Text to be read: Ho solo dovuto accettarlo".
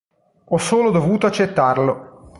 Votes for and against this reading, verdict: 2, 0, accepted